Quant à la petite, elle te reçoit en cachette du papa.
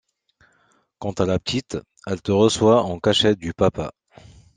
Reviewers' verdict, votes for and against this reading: accepted, 2, 0